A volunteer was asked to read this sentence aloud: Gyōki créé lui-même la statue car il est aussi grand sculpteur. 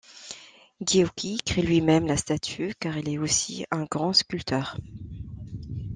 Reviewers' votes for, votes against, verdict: 0, 2, rejected